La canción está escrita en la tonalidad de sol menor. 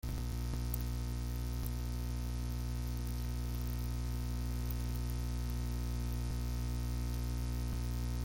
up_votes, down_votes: 1, 2